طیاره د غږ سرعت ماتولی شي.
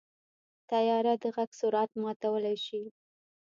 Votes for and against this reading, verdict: 2, 1, accepted